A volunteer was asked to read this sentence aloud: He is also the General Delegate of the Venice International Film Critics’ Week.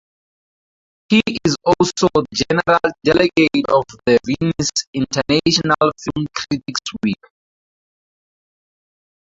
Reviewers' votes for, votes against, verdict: 0, 4, rejected